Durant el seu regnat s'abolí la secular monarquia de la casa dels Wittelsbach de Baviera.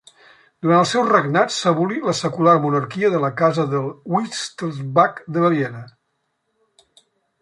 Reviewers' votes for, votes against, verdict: 0, 2, rejected